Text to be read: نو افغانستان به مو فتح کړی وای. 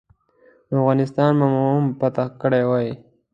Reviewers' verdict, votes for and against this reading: accepted, 2, 1